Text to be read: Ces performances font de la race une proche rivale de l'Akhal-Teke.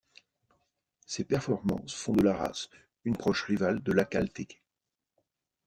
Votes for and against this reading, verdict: 2, 0, accepted